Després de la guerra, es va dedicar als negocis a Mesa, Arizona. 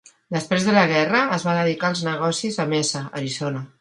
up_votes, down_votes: 2, 0